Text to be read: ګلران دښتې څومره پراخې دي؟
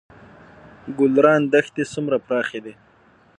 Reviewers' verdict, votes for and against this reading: accepted, 6, 0